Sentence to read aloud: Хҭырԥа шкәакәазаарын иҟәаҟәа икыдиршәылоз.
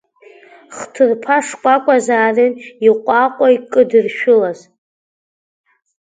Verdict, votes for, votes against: rejected, 1, 2